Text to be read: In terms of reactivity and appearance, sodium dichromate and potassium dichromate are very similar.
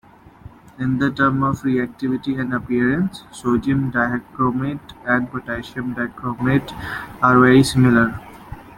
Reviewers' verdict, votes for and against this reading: rejected, 1, 2